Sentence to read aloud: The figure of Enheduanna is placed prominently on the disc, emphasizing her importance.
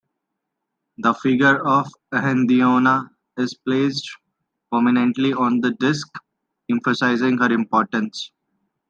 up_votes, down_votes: 2, 1